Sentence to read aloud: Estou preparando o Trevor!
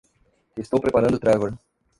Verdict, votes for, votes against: rejected, 0, 2